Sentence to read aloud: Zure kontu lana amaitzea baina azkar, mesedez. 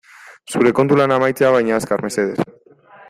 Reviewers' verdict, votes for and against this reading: rejected, 1, 2